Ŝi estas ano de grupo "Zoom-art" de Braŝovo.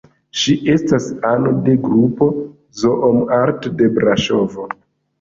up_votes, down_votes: 2, 1